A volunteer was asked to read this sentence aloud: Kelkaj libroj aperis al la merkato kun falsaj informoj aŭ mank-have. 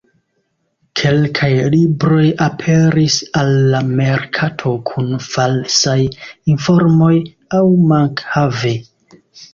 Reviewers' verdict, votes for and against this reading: rejected, 1, 2